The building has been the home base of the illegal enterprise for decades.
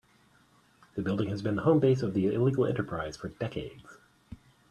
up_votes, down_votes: 1, 2